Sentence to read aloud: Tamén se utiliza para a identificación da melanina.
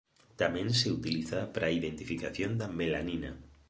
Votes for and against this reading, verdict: 2, 0, accepted